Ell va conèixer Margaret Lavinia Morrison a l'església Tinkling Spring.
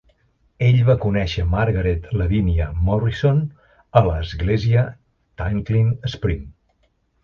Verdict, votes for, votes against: accepted, 2, 0